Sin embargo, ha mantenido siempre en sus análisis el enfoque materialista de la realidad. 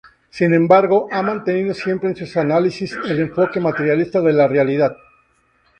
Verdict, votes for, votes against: accepted, 6, 2